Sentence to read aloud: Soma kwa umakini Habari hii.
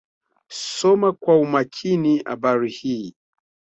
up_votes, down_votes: 2, 0